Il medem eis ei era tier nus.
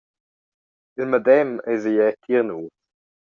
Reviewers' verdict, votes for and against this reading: rejected, 1, 2